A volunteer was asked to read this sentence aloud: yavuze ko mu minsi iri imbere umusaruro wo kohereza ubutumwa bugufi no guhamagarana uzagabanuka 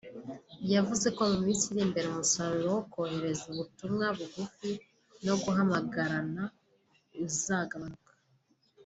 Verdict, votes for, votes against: accepted, 3, 1